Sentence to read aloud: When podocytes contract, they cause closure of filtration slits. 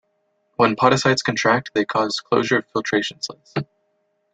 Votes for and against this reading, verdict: 1, 2, rejected